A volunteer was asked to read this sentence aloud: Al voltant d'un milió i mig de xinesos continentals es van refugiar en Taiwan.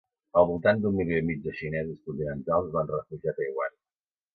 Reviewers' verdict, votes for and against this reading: rejected, 1, 3